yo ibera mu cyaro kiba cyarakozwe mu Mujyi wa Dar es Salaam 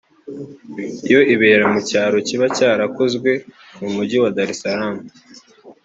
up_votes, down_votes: 3, 0